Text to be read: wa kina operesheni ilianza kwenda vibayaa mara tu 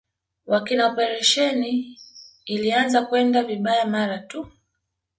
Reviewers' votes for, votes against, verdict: 2, 0, accepted